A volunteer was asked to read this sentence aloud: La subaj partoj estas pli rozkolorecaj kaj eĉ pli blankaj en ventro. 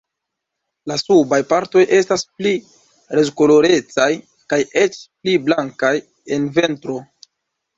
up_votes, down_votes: 2, 0